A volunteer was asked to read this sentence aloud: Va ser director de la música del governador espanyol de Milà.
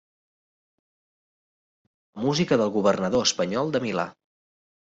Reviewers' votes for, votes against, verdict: 0, 2, rejected